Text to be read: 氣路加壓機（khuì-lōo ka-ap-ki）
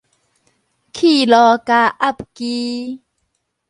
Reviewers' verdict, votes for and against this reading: rejected, 2, 2